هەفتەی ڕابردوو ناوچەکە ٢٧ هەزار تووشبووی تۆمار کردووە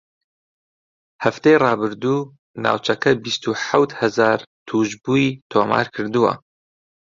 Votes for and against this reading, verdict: 0, 2, rejected